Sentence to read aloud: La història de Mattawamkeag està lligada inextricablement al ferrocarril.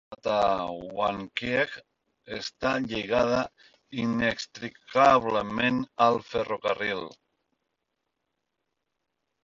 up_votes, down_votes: 0, 2